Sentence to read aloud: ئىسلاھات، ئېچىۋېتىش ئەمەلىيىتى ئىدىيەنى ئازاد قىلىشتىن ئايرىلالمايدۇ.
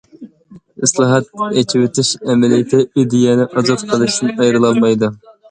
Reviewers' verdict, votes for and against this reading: accepted, 2, 0